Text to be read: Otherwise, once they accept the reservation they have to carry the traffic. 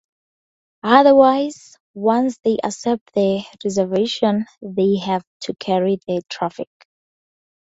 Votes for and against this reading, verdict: 4, 0, accepted